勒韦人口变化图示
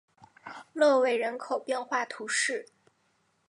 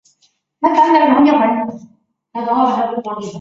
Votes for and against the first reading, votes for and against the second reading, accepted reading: 3, 0, 0, 4, first